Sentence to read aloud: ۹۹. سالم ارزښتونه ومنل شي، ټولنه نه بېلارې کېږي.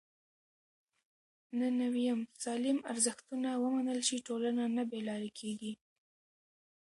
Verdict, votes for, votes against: rejected, 0, 2